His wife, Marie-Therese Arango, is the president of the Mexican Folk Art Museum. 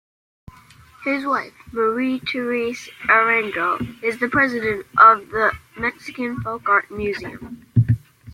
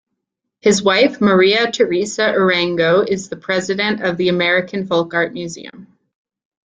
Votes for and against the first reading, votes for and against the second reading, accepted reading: 2, 0, 0, 2, first